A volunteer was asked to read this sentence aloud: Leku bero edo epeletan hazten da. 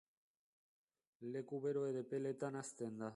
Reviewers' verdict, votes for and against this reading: rejected, 1, 2